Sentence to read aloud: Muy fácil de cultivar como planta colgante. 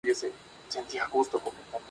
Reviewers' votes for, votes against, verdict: 0, 2, rejected